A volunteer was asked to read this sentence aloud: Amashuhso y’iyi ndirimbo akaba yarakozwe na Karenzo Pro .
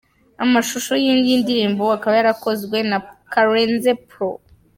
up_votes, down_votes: 2, 0